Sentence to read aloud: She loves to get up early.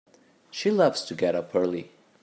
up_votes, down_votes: 2, 0